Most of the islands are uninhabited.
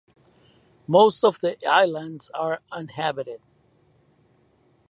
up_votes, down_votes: 0, 2